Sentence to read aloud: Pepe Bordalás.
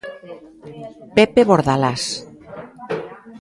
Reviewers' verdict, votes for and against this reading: accepted, 2, 0